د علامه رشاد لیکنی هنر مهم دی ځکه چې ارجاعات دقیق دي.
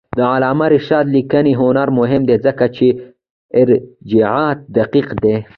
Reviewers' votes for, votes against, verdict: 2, 0, accepted